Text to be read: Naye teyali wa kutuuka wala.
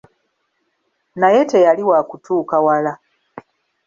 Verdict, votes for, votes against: accepted, 2, 0